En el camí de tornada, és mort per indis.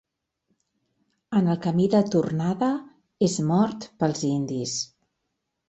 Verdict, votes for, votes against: rejected, 0, 2